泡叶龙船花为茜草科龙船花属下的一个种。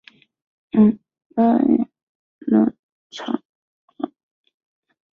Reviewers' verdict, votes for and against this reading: rejected, 0, 5